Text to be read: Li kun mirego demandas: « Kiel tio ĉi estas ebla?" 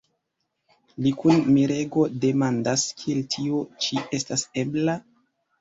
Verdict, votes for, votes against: rejected, 1, 2